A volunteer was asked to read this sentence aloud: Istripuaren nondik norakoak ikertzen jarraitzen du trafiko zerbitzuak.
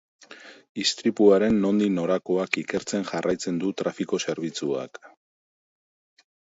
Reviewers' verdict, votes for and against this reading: accepted, 2, 0